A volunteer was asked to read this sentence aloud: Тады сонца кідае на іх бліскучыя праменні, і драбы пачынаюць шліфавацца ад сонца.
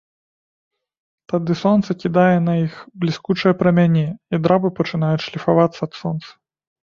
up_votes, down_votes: 1, 2